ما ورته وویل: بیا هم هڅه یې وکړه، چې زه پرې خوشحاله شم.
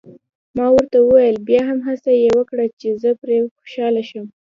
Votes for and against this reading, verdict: 2, 1, accepted